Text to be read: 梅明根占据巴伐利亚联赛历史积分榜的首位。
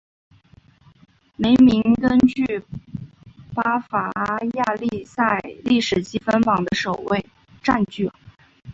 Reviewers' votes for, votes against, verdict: 2, 0, accepted